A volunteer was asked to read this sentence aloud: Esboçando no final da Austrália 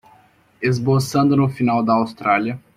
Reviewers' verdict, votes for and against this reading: accepted, 2, 0